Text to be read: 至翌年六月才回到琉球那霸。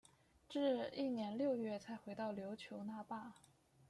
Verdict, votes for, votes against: accepted, 2, 0